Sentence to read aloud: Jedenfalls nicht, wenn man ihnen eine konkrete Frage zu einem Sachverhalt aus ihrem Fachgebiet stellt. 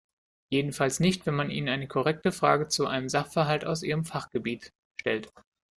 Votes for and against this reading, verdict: 2, 0, accepted